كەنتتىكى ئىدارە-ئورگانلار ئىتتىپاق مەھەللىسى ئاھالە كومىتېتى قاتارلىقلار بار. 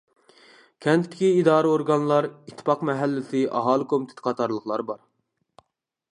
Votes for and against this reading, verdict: 2, 0, accepted